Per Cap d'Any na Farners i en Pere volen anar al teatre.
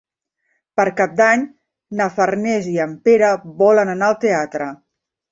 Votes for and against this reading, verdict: 5, 0, accepted